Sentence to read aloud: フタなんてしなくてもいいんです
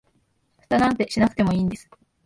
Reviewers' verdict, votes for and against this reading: rejected, 0, 4